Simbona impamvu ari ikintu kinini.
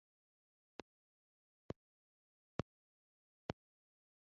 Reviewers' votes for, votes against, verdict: 1, 2, rejected